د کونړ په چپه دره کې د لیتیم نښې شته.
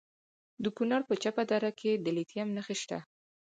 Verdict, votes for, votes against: accepted, 4, 0